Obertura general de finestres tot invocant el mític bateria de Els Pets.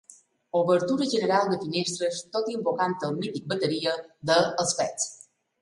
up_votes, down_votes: 2, 0